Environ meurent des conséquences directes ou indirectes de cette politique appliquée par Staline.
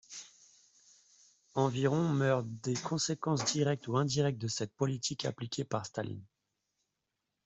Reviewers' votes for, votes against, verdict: 1, 2, rejected